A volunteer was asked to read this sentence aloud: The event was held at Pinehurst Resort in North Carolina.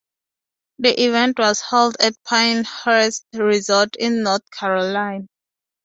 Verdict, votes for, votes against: rejected, 2, 2